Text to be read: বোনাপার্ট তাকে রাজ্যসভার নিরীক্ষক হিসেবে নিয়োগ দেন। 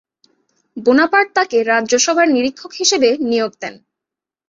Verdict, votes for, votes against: accepted, 3, 0